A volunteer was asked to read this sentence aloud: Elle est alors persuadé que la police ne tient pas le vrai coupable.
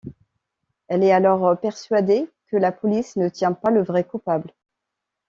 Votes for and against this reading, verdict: 2, 0, accepted